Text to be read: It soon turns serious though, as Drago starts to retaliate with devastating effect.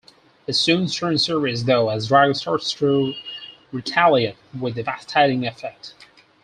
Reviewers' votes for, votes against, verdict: 2, 6, rejected